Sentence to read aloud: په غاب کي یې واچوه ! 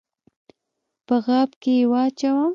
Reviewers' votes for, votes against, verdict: 1, 2, rejected